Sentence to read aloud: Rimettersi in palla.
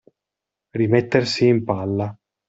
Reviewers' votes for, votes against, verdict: 2, 0, accepted